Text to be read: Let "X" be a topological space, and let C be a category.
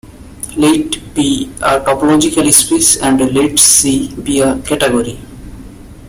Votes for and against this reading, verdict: 0, 2, rejected